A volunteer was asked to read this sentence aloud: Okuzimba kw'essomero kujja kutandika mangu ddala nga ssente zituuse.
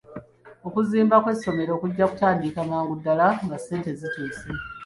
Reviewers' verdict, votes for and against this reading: accepted, 2, 1